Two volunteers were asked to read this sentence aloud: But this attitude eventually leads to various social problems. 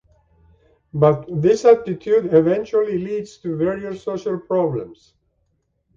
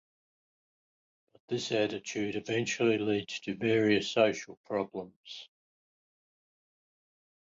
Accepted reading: first